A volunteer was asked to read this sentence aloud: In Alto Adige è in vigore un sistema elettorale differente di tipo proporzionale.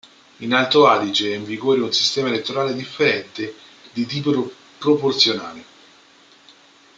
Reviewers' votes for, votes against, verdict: 0, 2, rejected